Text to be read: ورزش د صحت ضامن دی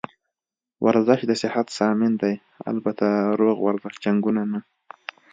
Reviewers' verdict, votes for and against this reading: rejected, 1, 2